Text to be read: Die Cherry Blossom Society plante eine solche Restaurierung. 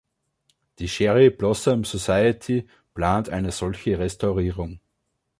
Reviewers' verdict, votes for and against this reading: rejected, 1, 2